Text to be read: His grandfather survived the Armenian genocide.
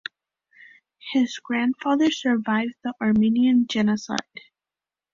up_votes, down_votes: 2, 0